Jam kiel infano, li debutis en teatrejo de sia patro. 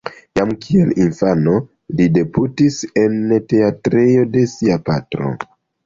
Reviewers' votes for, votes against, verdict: 3, 0, accepted